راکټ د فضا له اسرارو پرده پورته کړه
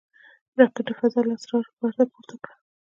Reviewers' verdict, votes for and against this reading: accepted, 2, 0